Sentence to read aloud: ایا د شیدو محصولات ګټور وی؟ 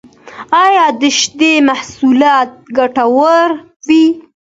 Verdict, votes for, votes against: accepted, 2, 1